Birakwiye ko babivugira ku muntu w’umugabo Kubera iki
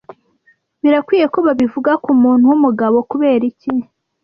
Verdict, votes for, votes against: rejected, 1, 2